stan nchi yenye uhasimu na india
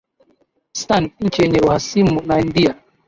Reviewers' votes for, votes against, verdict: 2, 0, accepted